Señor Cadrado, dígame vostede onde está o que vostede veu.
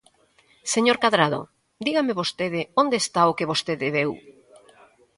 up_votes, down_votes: 1, 2